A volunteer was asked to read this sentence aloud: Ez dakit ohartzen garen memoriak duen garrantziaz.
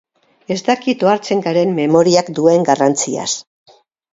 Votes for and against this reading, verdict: 2, 2, rejected